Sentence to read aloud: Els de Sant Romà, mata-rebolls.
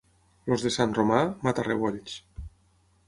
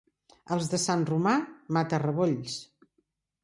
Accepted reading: second